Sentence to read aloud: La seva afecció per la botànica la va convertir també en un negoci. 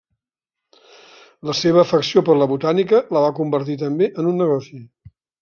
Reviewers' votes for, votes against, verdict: 3, 0, accepted